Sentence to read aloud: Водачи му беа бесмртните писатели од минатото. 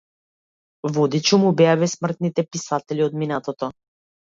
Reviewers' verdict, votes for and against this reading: rejected, 1, 2